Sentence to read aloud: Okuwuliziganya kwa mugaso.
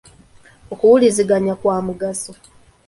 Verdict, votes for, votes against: accepted, 2, 0